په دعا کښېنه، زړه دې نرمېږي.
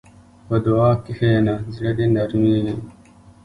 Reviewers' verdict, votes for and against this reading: rejected, 1, 2